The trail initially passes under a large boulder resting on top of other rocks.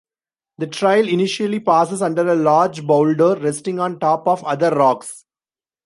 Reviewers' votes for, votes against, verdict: 2, 0, accepted